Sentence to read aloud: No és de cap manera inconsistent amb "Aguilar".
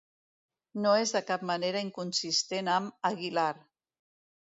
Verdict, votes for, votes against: accepted, 2, 0